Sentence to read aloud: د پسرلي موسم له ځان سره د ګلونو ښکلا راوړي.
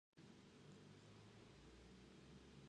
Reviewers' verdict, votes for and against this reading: rejected, 0, 2